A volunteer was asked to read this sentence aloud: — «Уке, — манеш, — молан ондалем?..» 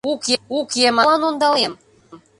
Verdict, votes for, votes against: rejected, 0, 2